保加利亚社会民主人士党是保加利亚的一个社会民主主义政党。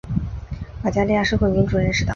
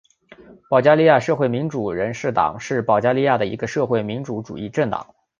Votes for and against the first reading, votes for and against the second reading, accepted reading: 0, 4, 2, 1, second